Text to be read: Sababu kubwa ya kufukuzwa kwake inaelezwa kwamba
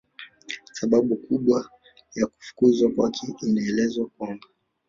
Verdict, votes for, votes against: accepted, 2, 0